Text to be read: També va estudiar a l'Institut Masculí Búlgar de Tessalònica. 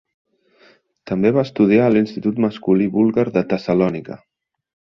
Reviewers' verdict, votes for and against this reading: accepted, 3, 0